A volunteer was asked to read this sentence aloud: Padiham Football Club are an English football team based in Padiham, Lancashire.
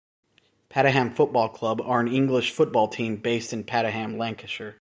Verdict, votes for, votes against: rejected, 1, 2